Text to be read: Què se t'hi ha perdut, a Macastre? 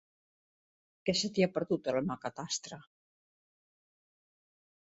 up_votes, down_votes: 1, 2